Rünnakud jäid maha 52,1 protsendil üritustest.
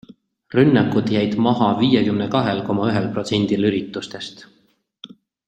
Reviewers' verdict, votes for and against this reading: rejected, 0, 2